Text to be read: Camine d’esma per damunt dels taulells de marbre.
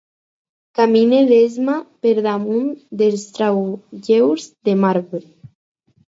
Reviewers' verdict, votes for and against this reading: rejected, 2, 4